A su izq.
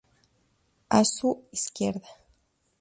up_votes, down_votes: 2, 0